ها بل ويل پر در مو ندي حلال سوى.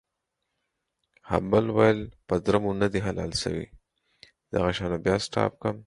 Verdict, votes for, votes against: rejected, 0, 4